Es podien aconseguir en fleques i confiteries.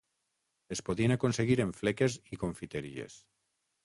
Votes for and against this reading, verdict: 6, 0, accepted